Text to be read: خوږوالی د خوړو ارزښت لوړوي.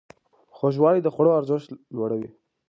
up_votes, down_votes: 3, 0